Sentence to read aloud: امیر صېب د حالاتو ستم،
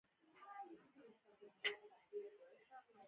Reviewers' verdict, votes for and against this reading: rejected, 0, 2